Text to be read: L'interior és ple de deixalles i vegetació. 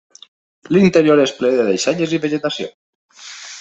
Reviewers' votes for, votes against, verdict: 3, 0, accepted